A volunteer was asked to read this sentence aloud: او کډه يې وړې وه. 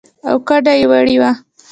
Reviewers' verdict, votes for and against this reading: accepted, 2, 0